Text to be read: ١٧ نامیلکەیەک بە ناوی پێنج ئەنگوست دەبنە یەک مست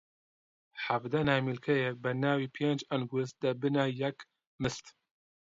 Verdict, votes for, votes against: rejected, 0, 2